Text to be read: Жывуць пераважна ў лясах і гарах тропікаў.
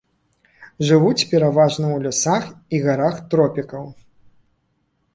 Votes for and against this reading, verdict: 2, 0, accepted